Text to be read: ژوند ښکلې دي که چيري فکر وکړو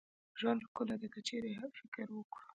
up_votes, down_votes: 2, 1